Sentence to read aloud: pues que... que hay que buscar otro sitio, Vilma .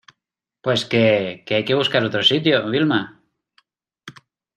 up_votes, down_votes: 2, 0